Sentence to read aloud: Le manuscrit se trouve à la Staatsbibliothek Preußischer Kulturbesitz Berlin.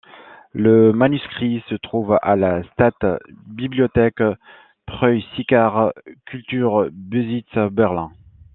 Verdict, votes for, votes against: accepted, 2, 1